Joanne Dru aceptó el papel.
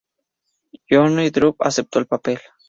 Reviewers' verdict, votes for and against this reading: accepted, 2, 0